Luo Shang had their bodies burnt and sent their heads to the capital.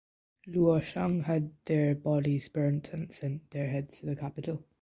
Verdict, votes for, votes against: rejected, 1, 2